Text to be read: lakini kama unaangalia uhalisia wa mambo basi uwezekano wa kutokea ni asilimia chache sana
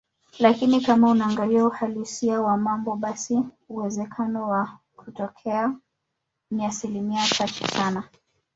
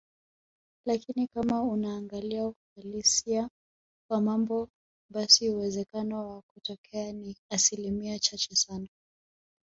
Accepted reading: second